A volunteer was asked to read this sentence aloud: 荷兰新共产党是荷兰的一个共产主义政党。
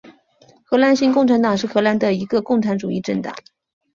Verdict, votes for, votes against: rejected, 0, 2